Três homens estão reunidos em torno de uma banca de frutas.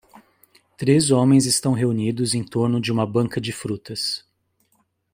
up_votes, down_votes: 2, 0